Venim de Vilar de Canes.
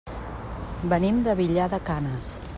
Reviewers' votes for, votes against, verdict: 1, 2, rejected